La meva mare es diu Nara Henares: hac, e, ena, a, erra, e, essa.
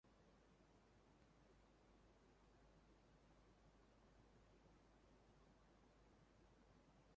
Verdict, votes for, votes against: rejected, 1, 2